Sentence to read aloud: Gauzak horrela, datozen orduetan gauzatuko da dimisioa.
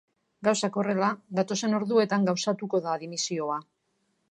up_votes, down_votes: 3, 0